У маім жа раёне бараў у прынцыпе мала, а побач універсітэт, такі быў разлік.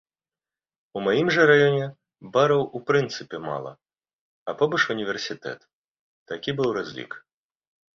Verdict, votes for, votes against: accepted, 2, 0